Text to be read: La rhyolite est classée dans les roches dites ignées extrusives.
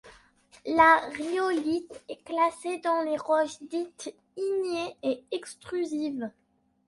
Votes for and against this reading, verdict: 1, 2, rejected